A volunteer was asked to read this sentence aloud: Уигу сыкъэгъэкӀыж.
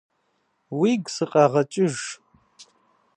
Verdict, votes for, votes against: accepted, 2, 0